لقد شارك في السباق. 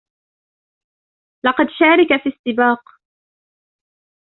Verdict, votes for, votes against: rejected, 1, 2